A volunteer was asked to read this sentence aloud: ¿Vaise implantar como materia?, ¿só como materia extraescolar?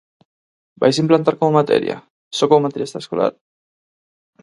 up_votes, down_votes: 4, 0